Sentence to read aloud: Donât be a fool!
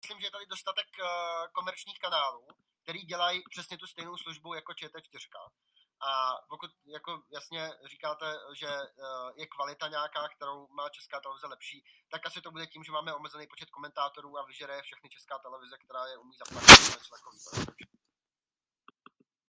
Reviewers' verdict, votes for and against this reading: rejected, 0, 2